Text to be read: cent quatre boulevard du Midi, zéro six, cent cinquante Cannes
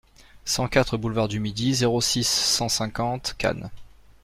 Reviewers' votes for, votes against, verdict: 2, 0, accepted